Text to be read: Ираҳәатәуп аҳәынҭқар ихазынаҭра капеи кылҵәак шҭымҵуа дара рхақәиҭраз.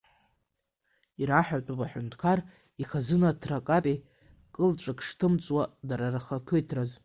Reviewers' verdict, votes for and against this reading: accepted, 2, 1